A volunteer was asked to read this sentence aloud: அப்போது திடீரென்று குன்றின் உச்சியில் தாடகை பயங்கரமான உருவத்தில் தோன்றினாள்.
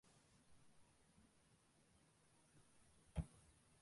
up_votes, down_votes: 0, 2